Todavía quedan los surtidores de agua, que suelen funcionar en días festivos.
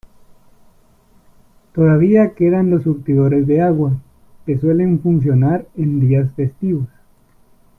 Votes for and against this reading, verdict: 2, 1, accepted